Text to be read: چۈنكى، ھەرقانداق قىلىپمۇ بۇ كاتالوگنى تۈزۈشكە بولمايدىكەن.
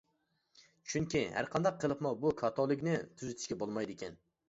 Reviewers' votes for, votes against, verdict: 0, 2, rejected